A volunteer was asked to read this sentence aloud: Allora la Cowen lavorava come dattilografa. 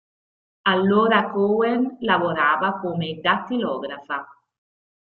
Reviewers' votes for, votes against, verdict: 1, 2, rejected